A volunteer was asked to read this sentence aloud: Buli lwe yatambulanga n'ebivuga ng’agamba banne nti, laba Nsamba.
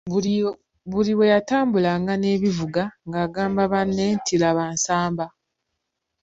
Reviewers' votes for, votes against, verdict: 2, 1, accepted